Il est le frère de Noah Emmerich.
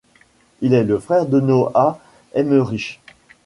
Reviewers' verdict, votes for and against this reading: accepted, 2, 1